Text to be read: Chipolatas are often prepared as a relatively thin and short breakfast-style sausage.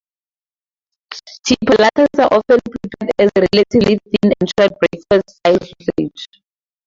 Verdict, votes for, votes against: accepted, 4, 0